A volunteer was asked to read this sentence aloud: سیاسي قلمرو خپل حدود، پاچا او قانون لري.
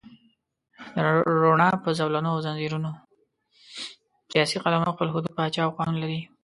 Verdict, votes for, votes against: rejected, 1, 2